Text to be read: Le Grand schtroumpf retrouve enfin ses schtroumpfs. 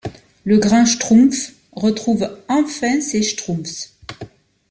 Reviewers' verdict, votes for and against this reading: rejected, 1, 2